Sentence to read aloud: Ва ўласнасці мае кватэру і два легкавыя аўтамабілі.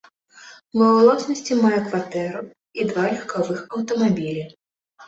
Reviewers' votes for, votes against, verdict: 0, 2, rejected